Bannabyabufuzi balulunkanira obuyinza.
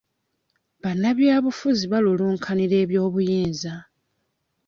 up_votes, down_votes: 0, 2